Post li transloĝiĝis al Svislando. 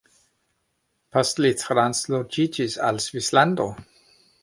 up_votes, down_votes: 1, 2